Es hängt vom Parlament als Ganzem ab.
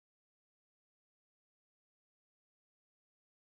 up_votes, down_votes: 0, 2